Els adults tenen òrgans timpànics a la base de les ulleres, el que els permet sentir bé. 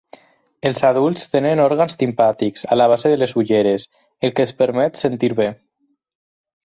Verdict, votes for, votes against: rejected, 0, 6